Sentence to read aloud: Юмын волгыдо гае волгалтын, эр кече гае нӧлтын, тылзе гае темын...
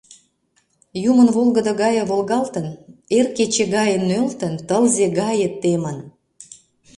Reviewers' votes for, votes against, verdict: 2, 0, accepted